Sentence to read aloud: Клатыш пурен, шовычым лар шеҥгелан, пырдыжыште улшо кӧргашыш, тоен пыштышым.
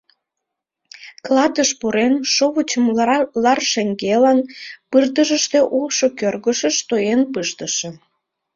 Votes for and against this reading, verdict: 0, 2, rejected